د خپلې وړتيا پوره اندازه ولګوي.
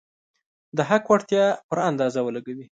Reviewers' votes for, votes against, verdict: 1, 2, rejected